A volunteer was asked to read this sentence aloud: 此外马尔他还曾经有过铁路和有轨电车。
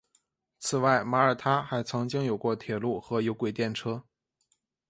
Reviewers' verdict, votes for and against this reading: accepted, 2, 0